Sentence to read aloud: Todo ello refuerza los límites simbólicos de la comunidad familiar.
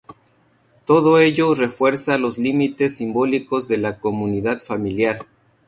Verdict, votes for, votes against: rejected, 2, 2